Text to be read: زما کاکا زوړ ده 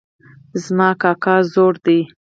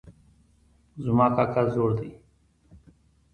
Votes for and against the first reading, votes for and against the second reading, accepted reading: 2, 4, 2, 1, second